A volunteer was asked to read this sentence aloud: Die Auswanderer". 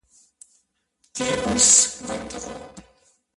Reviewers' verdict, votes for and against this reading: rejected, 0, 2